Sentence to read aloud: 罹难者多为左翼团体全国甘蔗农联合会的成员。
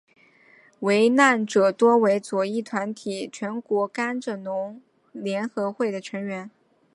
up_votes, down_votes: 3, 0